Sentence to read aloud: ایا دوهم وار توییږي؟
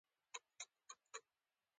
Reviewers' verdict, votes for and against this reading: accepted, 2, 1